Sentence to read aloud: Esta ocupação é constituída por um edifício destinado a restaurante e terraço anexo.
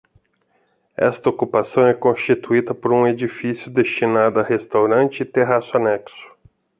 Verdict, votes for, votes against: accepted, 2, 0